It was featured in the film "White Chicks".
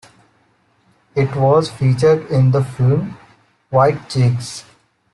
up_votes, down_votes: 2, 0